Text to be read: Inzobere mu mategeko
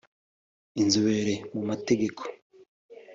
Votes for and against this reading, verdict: 2, 0, accepted